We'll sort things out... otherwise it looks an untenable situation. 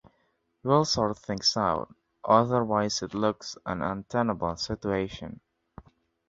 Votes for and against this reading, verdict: 2, 0, accepted